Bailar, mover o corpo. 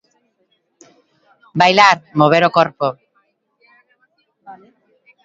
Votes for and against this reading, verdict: 0, 2, rejected